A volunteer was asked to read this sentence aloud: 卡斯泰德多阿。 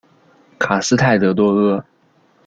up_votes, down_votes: 2, 0